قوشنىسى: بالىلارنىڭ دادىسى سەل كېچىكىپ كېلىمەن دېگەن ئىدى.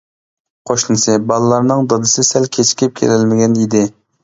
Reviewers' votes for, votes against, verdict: 0, 2, rejected